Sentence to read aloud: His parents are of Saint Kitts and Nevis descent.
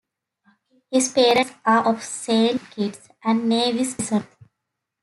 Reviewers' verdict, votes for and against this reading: accepted, 2, 0